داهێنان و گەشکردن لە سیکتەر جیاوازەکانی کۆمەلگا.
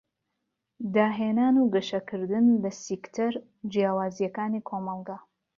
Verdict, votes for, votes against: rejected, 0, 2